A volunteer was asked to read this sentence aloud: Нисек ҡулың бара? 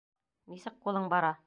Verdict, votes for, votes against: accepted, 2, 0